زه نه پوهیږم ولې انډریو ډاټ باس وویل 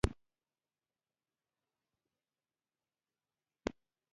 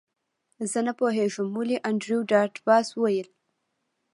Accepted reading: second